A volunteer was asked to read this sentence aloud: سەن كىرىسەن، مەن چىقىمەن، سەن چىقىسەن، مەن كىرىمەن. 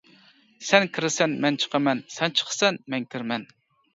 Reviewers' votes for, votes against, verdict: 2, 0, accepted